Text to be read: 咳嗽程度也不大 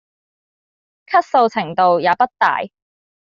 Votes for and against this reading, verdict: 2, 0, accepted